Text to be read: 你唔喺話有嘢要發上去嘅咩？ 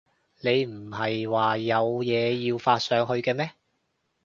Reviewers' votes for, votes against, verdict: 0, 2, rejected